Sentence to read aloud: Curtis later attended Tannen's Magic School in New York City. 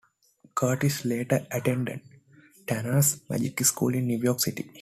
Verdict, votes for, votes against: accepted, 2, 0